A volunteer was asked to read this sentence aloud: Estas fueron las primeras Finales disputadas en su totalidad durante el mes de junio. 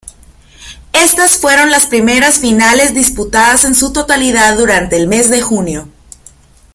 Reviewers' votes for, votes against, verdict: 2, 0, accepted